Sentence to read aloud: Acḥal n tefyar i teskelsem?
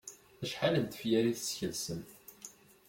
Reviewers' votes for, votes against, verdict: 2, 0, accepted